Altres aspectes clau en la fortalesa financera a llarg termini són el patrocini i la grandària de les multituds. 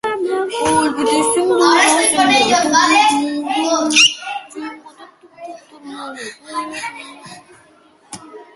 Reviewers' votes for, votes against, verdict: 0, 2, rejected